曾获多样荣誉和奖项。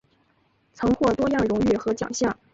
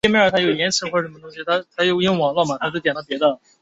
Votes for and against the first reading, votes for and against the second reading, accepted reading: 2, 0, 0, 5, first